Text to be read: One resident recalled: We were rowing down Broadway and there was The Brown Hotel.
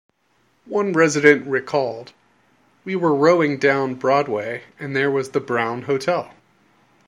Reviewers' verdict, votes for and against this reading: accepted, 2, 0